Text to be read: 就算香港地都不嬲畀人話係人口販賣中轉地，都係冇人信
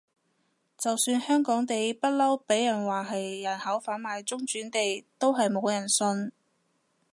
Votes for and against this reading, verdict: 1, 2, rejected